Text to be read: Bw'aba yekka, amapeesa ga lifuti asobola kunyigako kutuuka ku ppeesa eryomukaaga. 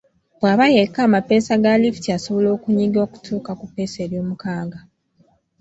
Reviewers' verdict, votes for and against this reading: rejected, 1, 2